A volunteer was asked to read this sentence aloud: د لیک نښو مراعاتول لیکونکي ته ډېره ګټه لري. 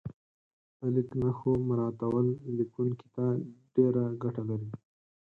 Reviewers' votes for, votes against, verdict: 4, 0, accepted